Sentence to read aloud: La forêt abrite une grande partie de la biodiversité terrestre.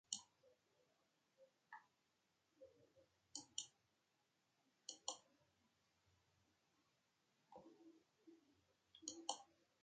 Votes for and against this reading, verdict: 0, 2, rejected